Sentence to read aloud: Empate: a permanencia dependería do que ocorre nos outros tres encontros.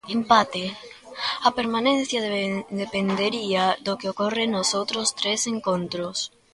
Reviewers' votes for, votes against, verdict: 0, 2, rejected